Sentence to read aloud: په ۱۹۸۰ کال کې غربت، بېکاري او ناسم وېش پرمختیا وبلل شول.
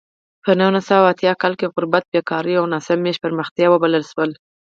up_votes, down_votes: 0, 2